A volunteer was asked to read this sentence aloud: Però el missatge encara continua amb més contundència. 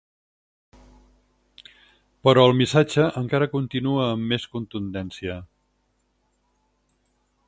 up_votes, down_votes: 4, 0